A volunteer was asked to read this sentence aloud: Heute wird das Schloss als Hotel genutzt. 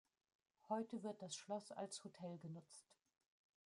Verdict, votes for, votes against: rejected, 1, 2